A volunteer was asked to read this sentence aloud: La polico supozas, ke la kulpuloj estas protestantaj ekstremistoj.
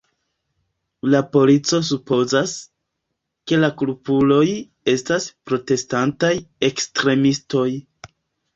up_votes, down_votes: 2, 1